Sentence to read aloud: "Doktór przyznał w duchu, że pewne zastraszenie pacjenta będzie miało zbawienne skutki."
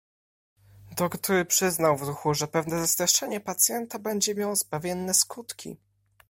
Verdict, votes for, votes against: accepted, 3, 1